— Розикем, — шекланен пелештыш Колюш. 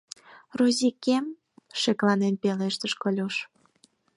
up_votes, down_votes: 4, 0